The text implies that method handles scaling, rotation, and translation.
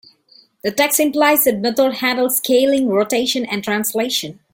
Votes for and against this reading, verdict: 1, 2, rejected